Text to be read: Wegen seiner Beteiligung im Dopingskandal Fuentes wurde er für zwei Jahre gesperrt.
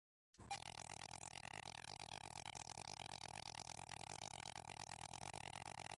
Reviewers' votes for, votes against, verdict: 0, 2, rejected